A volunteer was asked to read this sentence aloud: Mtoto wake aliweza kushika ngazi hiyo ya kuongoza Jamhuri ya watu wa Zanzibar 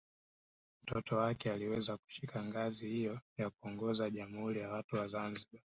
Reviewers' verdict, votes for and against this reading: accepted, 2, 0